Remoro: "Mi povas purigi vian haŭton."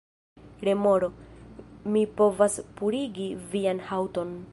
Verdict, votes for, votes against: accepted, 2, 0